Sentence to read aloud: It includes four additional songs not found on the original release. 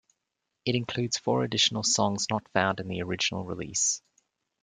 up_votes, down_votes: 2, 1